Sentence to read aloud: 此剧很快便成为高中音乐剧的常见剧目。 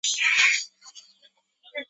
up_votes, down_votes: 0, 2